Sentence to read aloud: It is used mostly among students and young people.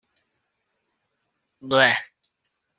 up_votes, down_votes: 0, 2